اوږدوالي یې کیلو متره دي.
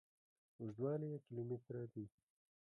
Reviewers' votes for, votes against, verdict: 1, 2, rejected